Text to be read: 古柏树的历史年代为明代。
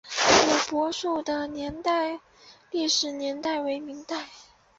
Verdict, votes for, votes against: rejected, 2, 2